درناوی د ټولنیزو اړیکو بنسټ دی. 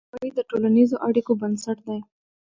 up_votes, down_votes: 0, 2